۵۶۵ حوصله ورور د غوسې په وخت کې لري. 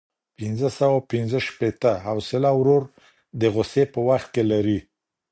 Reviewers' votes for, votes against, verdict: 0, 2, rejected